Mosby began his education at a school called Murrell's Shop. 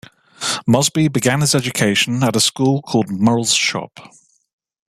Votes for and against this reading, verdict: 2, 0, accepted